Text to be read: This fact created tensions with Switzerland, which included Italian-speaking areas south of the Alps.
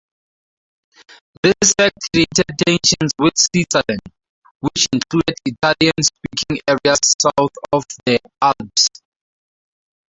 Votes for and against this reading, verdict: 0, 2, rejected